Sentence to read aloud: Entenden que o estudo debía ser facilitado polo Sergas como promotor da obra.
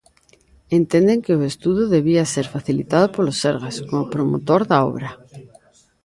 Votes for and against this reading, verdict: 2, 1, accepted